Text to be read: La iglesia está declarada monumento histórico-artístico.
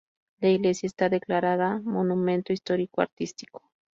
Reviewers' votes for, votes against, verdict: 4, 0, accepted